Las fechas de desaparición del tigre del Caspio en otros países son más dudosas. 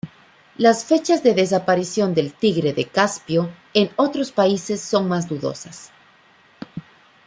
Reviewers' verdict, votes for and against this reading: accepted, 3, 1